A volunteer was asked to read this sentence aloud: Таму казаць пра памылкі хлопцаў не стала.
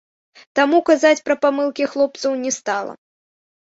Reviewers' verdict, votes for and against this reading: accepted, 2, 1